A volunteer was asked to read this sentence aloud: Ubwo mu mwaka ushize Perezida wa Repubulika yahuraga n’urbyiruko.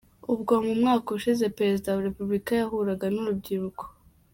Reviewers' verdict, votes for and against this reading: accepted, 2, 0